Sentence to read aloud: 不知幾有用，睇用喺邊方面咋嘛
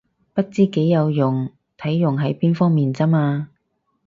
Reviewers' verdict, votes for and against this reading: accepted, 4, 0